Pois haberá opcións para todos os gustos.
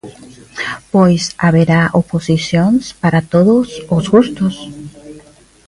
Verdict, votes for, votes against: rejected, 0, 2